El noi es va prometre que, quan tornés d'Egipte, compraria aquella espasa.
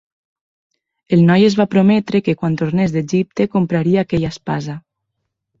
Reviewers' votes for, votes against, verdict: 3, 0, accepted